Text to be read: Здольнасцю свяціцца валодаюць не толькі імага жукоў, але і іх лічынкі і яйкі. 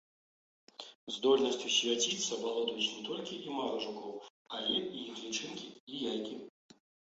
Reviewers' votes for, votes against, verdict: 2, 1, accepted